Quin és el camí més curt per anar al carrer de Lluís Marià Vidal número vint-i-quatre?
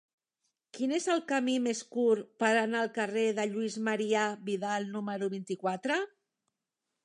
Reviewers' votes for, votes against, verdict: 3, 0, accepted